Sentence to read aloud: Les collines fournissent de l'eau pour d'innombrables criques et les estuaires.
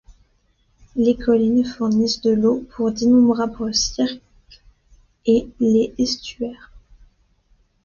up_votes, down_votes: 0, 2